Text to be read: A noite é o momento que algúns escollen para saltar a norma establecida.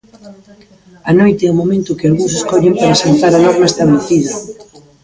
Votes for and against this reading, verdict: 0, 2, rejected